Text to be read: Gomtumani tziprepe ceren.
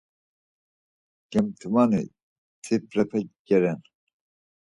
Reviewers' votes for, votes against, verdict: 0, 4, rejected